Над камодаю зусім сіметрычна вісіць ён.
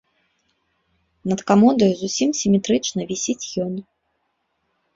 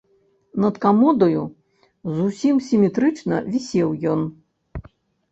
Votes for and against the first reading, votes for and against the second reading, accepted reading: 3, 1, 0, 2, first